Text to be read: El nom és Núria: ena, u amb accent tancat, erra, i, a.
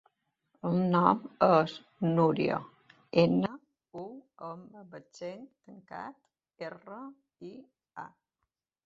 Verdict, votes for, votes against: accepted, 2, 0